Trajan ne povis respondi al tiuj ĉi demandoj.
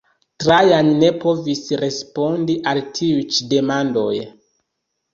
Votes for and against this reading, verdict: 0, 2, rejected